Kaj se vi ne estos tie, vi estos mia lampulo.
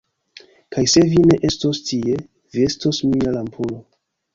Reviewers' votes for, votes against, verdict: 1, 2, rejected